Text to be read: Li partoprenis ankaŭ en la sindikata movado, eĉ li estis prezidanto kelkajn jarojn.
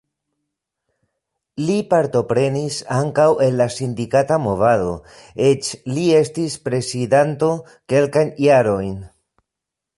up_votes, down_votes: 0, 2